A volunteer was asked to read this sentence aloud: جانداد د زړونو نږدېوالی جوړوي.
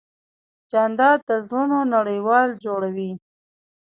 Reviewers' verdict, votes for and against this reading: rejected, 1, 2